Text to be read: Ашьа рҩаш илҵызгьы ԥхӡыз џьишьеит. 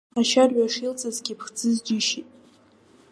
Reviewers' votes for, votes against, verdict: 0, 2, rejected